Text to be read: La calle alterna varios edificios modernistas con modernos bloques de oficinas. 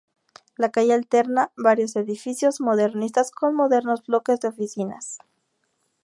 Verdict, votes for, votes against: accepted, 2, 0